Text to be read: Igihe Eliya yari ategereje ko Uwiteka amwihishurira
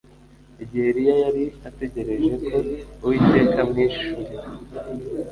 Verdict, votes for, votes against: accepted, 2, 0